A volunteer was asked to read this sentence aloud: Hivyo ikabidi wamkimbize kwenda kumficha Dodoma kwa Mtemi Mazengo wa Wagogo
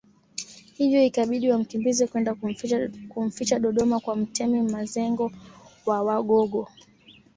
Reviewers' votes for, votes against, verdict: 0, 2, rejected